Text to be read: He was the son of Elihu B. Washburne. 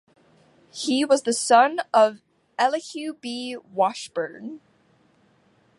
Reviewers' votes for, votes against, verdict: 2, 0, accepted